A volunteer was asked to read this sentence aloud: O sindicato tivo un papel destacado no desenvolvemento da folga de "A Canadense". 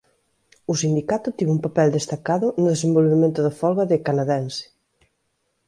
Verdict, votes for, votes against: rejected, 0, 2